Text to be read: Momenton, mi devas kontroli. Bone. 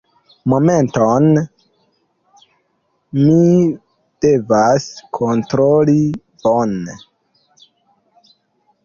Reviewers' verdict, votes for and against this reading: accepted, 2, 1